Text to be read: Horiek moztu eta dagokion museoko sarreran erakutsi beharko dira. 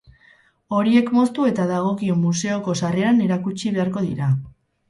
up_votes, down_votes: 0, 2